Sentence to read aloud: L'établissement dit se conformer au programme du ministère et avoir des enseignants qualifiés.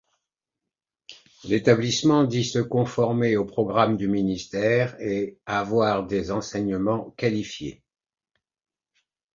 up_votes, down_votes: 0, 2